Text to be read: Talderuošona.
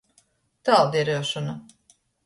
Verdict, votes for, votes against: rejected, 0, 2